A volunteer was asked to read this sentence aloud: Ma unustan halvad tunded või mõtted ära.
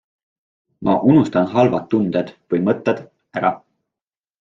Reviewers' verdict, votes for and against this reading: accepted, 2, 0